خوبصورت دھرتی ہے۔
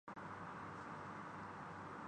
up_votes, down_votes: 0, 2